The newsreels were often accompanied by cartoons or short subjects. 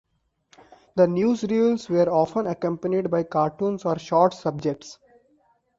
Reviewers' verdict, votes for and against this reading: accepted, 2, 0